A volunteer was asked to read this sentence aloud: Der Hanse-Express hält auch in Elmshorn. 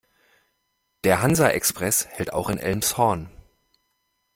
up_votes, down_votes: 1, 2